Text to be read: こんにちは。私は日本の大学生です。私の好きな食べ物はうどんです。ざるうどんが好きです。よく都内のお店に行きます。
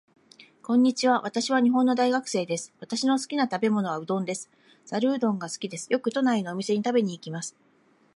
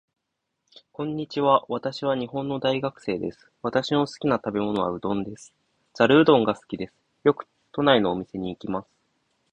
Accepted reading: second